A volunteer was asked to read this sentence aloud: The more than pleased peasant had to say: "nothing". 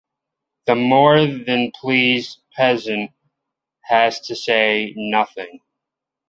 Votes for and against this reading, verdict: 0, 2, rejected